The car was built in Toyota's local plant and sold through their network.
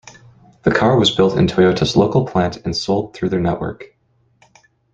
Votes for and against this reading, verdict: 2, 0, accepted